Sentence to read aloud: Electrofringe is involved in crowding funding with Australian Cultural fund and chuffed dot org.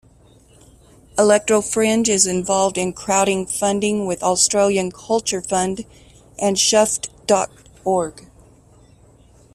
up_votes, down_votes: 1, 2